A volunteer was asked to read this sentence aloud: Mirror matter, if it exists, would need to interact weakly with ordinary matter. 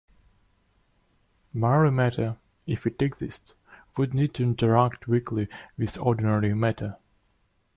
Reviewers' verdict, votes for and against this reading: rejected, 0, 2